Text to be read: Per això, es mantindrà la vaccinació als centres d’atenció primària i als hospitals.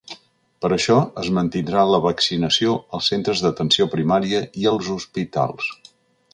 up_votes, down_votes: 2, 0